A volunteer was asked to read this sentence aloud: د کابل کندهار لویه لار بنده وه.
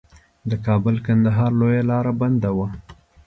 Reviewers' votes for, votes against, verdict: 2, 0, accepted